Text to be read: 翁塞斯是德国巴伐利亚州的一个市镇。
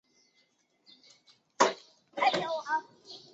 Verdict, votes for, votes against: rejected, 0, 4